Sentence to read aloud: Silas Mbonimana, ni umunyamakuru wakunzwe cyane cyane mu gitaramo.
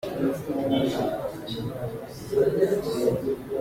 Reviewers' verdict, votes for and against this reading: rejected, 0, 2